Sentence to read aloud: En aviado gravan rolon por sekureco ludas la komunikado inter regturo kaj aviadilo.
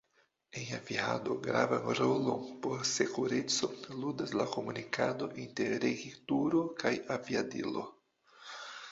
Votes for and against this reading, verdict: 0, 2, rejected